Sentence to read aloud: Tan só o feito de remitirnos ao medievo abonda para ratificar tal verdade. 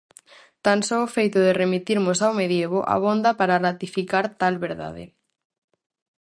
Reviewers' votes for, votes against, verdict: 2, 2, rejected